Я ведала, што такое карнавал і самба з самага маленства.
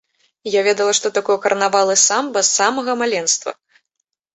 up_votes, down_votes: 2, 0